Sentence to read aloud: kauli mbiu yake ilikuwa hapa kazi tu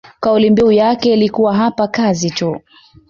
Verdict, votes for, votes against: accepted, 2, 0